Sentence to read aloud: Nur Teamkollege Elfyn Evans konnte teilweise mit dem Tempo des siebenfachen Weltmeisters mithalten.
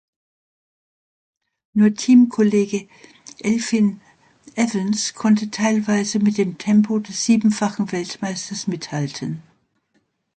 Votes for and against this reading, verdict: 2, 0, accepted